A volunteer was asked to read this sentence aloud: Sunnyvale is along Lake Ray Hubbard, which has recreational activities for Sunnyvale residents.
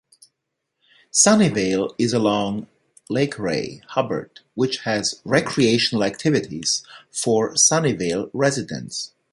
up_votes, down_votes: 2, 0